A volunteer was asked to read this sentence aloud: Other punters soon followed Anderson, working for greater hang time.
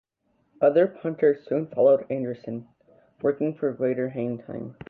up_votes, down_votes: 1, 2